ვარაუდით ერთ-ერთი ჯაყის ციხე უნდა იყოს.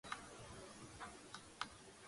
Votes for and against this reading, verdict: 0, 2, rejected